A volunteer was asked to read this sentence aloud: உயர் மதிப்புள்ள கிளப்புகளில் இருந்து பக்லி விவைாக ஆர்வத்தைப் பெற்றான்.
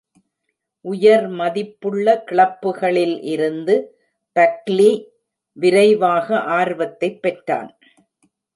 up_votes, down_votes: 1, 2